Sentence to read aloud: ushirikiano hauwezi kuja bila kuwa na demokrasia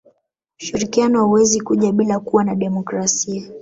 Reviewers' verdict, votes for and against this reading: rejected, 1, 2